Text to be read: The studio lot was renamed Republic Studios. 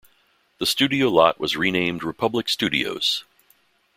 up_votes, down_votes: 2, 0